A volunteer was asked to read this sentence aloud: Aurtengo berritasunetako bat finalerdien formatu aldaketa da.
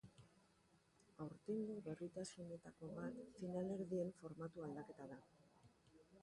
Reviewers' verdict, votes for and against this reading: rejected, 0, 2